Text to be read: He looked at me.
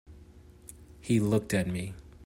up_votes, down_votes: 2, 0